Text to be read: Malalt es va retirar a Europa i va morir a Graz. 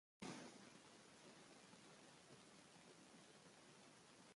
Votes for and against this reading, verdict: 0, 2, rejected